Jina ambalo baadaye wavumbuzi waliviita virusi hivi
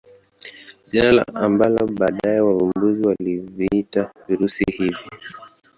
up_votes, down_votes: 2, 3